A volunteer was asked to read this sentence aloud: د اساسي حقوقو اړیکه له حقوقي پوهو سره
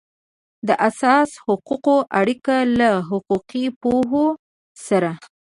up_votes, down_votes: 1, 2